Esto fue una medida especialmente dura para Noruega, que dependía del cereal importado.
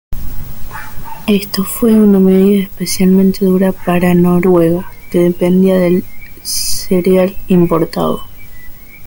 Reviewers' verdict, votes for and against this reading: rejected, 0, 2